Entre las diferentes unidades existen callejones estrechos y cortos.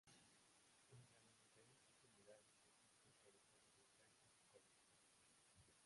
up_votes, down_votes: 0, 2